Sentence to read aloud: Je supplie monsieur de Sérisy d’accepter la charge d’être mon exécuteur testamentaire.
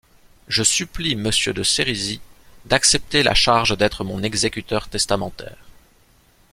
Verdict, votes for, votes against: accepted, 2, 0